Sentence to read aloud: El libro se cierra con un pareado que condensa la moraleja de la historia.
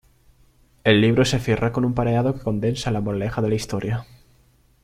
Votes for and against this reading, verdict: 2, 0, accepted